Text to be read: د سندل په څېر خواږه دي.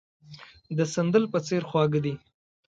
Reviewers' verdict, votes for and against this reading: accepted, 2, 0